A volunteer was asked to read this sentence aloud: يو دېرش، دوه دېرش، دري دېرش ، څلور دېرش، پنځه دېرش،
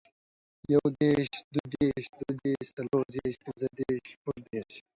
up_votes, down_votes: 1, 2